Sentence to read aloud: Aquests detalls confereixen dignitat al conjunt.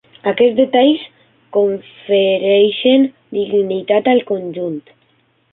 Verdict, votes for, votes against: rejected, 0, 3